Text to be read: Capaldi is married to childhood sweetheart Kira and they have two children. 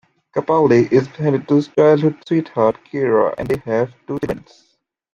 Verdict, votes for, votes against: rejected, 0, 2